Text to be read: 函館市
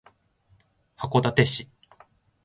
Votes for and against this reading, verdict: 2, 0, accepted